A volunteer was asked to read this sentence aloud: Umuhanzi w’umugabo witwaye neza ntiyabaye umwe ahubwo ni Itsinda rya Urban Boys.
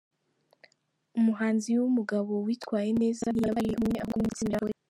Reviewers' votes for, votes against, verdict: 0, 2, rejected